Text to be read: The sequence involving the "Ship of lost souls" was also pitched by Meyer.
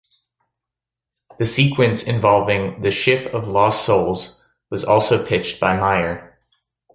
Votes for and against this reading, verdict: 2, 0, accepted